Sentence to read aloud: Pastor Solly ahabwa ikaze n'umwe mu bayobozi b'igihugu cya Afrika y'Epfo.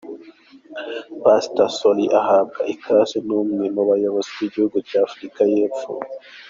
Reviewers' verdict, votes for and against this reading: accepted, 2, 1